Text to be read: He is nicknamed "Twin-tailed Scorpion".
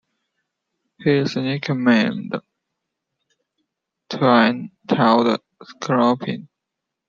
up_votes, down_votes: 0, 2